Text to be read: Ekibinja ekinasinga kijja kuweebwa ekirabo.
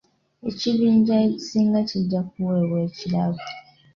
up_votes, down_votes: 0, 2